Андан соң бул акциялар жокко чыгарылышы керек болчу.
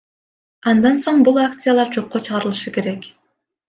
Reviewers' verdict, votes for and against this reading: rejected, 1, 2